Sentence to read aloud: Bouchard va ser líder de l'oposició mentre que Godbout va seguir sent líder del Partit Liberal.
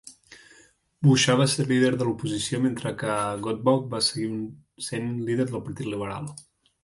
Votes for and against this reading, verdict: 0, 2, rejected